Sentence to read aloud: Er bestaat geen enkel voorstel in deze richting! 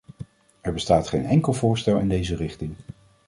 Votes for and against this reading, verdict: 2, 0, accepted